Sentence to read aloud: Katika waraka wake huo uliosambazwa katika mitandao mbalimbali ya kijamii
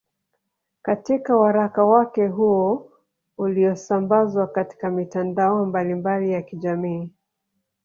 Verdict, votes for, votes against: accepted, 3, 0